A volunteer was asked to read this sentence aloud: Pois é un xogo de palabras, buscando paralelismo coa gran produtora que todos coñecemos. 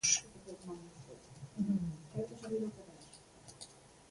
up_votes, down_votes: 0, 2